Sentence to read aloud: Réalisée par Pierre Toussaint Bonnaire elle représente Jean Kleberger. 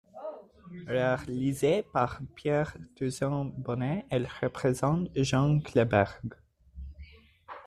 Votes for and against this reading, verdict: 0, 2, rejected